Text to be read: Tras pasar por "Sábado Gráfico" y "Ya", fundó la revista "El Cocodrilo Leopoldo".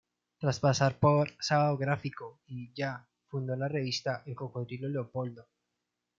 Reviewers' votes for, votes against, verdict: 2, 0, accepted